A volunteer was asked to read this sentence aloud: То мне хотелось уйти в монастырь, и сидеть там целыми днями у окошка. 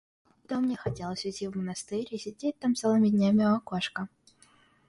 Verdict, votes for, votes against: accepted, 2, 0